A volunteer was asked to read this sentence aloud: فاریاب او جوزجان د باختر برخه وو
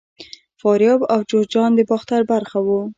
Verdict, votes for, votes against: accepted, 2, 0